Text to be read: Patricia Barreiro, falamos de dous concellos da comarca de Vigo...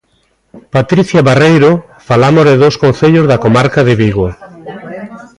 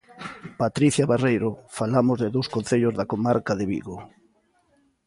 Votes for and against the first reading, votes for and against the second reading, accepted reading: 1, 2, 2, 0, second